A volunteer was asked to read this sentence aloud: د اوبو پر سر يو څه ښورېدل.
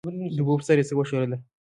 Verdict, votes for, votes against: rejected, 1, 2